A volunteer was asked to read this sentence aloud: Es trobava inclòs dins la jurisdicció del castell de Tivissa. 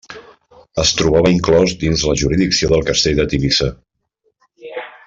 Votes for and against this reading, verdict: 1, 2, rejected